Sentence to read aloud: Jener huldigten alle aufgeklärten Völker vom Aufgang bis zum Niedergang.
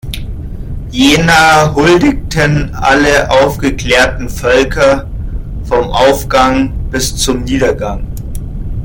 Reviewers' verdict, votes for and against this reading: accepted, 2, 0